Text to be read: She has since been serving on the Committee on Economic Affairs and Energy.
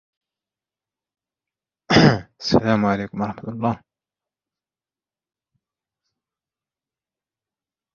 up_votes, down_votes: 0, 2